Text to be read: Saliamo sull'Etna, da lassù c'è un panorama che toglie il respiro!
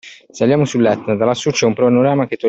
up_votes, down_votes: 0, 2